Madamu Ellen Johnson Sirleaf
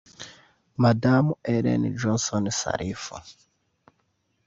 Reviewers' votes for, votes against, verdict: 2, 0, accepted